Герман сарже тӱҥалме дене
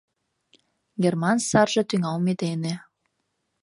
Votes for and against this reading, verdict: 2, 0, accepted